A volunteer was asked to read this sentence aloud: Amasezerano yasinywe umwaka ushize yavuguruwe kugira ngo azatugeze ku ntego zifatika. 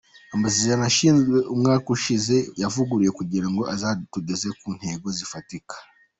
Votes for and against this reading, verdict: 2, 0, accepted